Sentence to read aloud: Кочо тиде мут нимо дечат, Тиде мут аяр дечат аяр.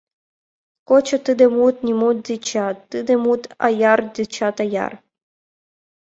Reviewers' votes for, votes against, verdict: 2, 0, accepted